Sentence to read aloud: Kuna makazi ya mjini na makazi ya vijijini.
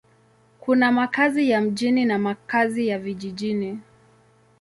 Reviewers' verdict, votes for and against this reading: accepted, 2, 0